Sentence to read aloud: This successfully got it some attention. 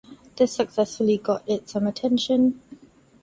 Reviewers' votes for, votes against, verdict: 2, 0, accepted